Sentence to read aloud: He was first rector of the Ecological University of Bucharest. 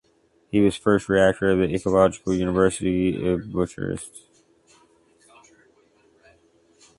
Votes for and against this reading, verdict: 0, 2, rejected